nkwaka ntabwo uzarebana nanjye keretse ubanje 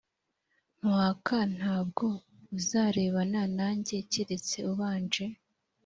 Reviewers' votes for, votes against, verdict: 2, 0, accepted